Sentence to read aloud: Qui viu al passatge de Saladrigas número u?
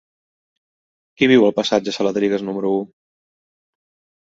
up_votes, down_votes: 0, 2